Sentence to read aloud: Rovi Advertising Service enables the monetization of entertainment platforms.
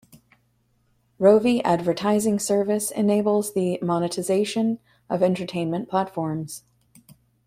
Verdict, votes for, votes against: accepted, 2, 0